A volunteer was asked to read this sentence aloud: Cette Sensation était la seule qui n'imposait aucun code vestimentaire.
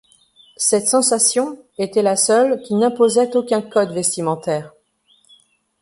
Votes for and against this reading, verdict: 2, 0, accepted